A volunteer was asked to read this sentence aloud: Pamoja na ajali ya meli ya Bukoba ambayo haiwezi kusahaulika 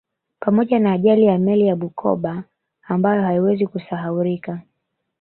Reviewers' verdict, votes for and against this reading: accepted, 2, 0